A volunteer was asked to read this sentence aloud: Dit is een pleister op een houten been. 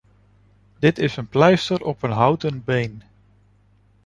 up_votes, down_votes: 3, 0